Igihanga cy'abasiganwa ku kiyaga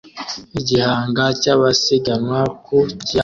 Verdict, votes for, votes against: rejected, 0, 2